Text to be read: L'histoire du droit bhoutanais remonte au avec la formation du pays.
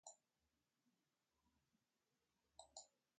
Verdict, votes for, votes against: rejected, 0, 2